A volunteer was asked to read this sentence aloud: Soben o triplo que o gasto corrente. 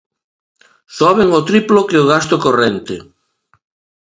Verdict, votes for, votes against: accepted, 5, 1